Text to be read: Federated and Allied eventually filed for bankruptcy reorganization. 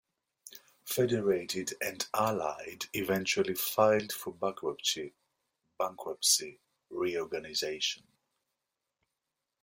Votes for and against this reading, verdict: 2, 3, rejected